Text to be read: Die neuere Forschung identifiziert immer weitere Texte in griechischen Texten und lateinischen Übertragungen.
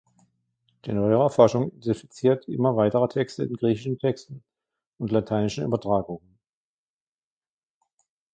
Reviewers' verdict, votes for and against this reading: rejected, 1, 2